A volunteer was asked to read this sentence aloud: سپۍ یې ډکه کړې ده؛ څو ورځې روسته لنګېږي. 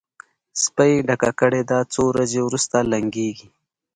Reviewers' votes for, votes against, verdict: 2, 0, accepted